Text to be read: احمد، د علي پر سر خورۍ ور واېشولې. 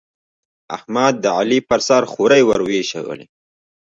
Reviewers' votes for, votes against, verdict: 2, 1, accepted